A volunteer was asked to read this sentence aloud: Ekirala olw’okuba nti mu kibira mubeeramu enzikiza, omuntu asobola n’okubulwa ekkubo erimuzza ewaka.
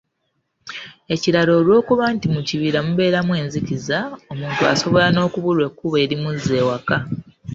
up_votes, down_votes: 2, 1